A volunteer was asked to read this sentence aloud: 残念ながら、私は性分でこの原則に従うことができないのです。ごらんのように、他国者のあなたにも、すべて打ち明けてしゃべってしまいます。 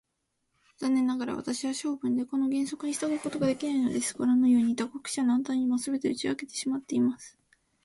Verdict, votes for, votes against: accepted, 2, 0